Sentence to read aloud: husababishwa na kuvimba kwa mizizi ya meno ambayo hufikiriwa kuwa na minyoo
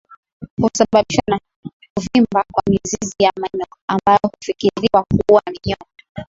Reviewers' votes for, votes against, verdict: 0, 2, rejected